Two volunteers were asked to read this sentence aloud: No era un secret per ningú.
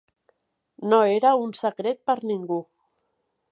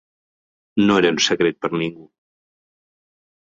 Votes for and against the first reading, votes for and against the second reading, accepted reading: 2, 0, 2, 3, first